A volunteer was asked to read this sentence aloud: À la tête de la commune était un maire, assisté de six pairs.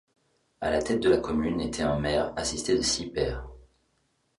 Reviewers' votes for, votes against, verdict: 2, 0, accepted